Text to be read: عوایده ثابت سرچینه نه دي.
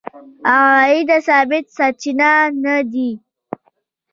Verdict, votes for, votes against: rejected, 1, 2